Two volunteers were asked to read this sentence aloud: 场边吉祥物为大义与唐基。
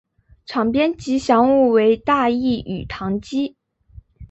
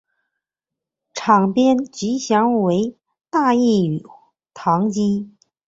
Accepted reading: first